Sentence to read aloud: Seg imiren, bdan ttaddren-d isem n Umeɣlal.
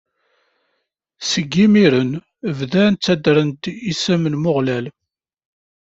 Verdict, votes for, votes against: rejected, 1, 2